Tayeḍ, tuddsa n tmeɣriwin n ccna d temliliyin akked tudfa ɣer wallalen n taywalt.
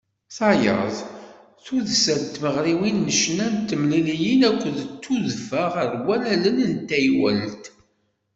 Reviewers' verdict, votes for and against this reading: accepted, 2, 0